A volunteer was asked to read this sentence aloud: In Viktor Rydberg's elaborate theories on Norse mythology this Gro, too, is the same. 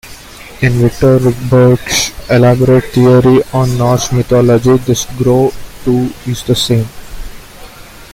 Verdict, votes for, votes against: rejected, 0, 2